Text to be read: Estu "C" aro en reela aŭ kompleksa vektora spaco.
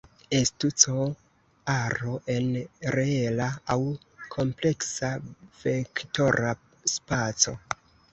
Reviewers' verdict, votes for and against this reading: rejected, 1, 2